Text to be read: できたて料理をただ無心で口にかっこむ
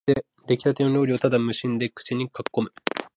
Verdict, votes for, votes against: accepted, 2, 0